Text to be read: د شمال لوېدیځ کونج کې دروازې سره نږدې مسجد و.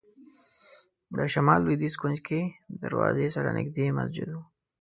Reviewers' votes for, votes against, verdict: 2, 0, accepted